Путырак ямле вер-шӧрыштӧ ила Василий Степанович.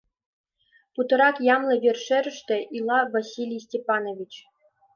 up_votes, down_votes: 2, 0